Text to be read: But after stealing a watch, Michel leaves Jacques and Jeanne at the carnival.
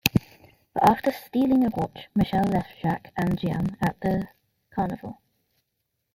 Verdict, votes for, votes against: rejected, 0, 2